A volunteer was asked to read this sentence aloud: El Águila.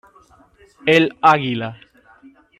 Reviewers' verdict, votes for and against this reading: accepted, 2, 0